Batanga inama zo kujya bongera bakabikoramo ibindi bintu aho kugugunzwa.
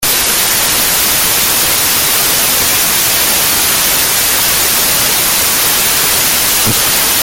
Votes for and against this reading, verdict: 0, 2, rejected